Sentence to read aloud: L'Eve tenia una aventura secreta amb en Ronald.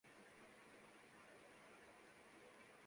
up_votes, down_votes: 0, 2